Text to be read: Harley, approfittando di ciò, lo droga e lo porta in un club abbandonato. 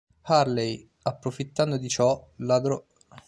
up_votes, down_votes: 0, 2